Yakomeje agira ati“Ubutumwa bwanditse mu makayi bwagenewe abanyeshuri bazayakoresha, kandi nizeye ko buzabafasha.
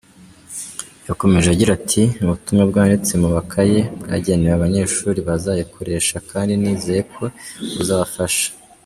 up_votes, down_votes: 1, 2